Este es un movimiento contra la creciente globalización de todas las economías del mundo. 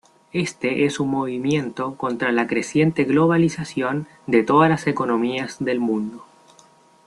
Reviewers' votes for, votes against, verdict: 1, 2, rejected